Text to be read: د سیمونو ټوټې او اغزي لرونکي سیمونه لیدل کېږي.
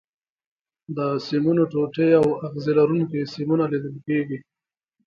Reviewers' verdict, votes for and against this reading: accepted, 2, 0